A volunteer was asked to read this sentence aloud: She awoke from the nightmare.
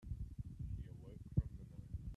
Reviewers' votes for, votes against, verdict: 0, 2, rejected